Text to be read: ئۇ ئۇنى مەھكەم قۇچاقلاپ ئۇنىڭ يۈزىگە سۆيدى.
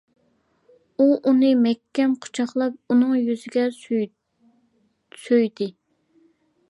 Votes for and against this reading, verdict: 1, 2, rejected